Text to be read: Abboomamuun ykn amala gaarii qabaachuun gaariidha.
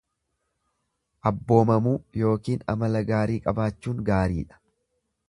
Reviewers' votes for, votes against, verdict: 1, 2, rejected